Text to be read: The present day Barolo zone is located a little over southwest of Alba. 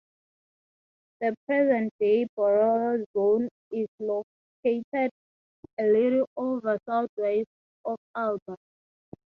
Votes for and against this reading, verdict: 3, 0, accepted